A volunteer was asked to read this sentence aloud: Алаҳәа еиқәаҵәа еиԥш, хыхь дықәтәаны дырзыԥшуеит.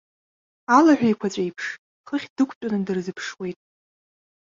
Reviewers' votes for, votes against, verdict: 1, 2, rejected